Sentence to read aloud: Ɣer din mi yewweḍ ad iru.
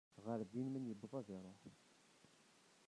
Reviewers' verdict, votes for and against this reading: rejected, 1, 2